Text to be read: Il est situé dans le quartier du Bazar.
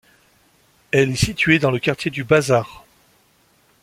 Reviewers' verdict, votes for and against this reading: rejected, 0, 2